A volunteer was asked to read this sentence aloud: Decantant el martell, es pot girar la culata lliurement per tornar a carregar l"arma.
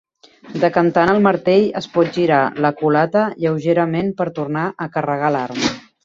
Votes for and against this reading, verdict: 0, 2, rejected